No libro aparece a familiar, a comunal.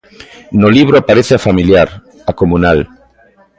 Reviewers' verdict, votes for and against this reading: rejected, 1, 2